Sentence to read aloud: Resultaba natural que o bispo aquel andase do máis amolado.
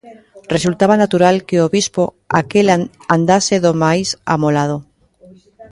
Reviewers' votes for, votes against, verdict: 0, 2, rejected